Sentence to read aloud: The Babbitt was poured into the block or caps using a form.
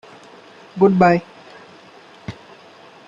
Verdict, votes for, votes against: rejected, 0, 2